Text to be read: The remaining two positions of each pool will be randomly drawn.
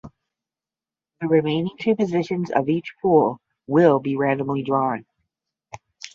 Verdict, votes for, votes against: accepted, 10, 0